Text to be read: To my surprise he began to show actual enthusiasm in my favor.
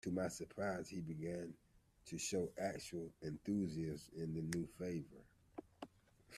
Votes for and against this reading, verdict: 1, 2, rejected